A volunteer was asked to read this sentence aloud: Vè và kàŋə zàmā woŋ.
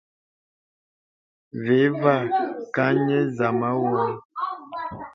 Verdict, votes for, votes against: accepted, 2, 1